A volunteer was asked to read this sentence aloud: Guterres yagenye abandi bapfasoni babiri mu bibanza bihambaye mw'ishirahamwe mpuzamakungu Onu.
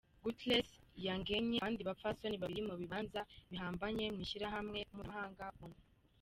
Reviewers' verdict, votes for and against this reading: rejected, 0, 3